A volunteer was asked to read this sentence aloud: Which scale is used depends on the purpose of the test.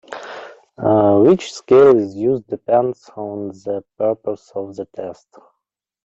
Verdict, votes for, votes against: accepted, 2, 0